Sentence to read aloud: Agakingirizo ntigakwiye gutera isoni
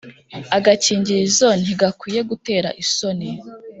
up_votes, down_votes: 2, 1